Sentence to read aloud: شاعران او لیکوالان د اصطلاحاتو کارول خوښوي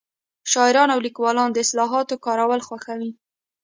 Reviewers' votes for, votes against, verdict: 2, 0, accepted